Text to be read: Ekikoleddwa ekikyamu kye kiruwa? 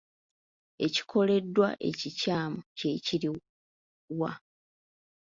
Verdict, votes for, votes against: rejected, 0, 2